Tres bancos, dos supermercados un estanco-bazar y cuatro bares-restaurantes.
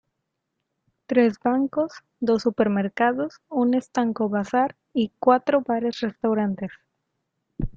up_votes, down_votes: 2, 1